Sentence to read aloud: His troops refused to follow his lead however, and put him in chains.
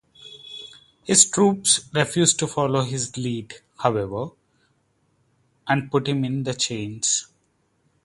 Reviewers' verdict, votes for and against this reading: rejected, 0, 4